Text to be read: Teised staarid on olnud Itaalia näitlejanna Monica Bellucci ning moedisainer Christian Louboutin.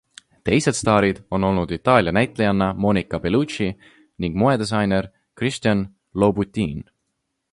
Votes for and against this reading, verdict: 3, 1, accepted